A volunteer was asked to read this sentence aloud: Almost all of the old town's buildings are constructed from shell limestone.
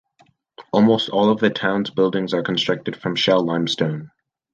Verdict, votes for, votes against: rejected, 1, 2